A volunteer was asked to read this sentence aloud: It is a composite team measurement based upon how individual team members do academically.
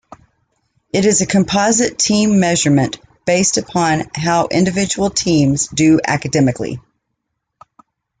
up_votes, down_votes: 1, 2